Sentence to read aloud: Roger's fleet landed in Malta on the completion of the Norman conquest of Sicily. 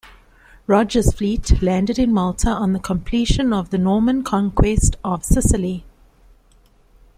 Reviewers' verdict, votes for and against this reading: accepted, 2, 0